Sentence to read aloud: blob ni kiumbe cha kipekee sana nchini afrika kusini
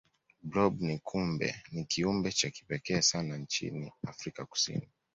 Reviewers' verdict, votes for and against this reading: accepted, 2, 1